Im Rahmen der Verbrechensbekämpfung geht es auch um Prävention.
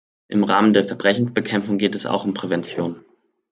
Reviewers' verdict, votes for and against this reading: accepted, 2, 0